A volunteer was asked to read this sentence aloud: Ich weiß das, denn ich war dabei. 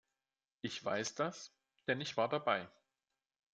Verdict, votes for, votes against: accepted, 2, 0